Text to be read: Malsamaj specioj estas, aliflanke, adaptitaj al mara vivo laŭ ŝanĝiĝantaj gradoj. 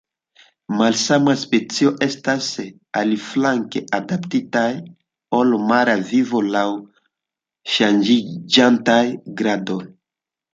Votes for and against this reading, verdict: 1, 2, rejected